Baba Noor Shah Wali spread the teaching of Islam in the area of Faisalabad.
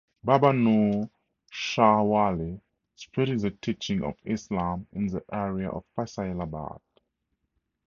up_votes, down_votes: 4, 0